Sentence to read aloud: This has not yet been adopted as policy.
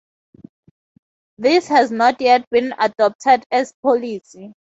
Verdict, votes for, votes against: accepted, 2, 0